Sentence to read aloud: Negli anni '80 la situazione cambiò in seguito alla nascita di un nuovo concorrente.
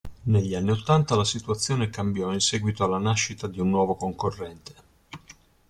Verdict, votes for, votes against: rejected, 0, 2